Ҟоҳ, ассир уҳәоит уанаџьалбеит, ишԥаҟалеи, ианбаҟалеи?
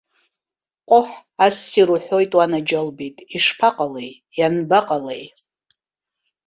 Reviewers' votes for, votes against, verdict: 2, 0, accepted